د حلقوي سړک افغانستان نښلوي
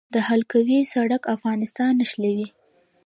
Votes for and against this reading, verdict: 0, 2, rejected